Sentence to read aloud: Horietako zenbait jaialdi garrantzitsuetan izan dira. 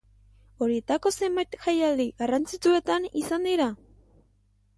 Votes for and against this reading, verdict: 0, 2, rejected